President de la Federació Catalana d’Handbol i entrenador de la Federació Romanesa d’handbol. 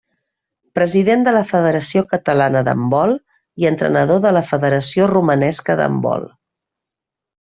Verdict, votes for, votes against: rejected, 0, 2